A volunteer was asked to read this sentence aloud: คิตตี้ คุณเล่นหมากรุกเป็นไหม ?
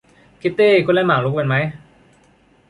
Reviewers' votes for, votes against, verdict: 2, 1, accepted